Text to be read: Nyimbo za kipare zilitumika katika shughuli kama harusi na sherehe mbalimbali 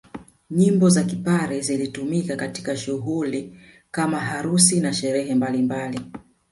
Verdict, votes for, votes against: rejected, 1, 2